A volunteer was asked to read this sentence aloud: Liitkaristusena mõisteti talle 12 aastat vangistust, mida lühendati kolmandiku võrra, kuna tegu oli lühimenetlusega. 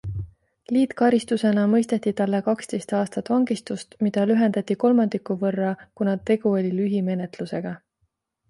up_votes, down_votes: 0, 2